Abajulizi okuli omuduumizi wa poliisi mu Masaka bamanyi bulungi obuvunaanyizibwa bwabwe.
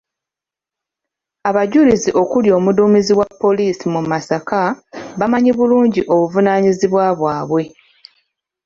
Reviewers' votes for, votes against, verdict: 2, 0, accepted